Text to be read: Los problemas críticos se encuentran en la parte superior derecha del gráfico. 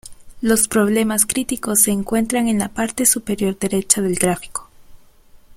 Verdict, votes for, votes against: accepted, 3, 0